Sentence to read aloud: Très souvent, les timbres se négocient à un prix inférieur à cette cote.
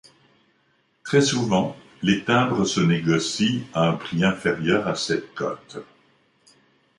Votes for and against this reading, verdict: 2, 0, accepted